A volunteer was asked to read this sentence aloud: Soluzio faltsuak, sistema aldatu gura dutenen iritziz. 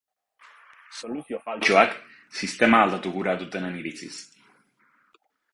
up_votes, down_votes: 2, 2